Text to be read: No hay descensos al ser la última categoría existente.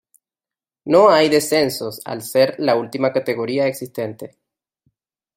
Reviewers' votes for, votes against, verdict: 2, 0, accepted